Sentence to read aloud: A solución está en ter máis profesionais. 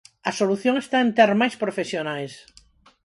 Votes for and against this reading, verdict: 4, 0, accepted